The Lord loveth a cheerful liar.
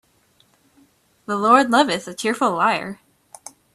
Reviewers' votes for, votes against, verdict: 2, 0, accepted